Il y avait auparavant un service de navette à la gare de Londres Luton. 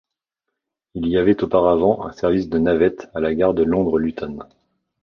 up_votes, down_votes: 2, 0